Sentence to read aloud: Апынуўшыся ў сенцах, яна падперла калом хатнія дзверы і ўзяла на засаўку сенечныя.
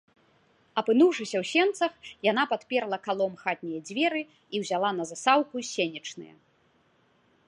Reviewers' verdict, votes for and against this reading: rejected, 0, 2